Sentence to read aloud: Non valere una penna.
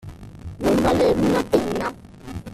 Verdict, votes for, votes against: rejected, 0, 2